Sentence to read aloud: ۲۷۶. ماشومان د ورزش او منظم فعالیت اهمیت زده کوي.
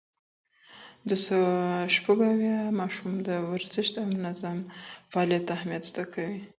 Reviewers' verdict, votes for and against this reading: rejected, 0, 2